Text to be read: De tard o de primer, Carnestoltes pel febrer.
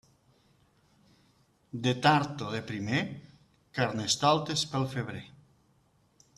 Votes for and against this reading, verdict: 2, 0, accepted